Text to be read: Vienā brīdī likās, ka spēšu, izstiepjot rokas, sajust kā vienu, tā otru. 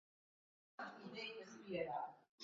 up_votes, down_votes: 0, 2